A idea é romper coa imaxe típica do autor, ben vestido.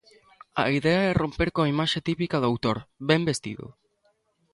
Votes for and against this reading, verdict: 2, 0, accepted